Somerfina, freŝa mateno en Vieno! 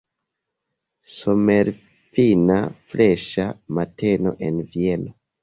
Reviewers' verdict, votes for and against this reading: rejected, 1, 2